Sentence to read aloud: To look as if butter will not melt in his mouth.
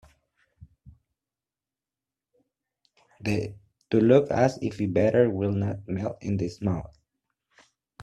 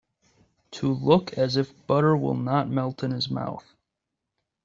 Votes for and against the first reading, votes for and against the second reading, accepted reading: 1, 2, 2, 0, second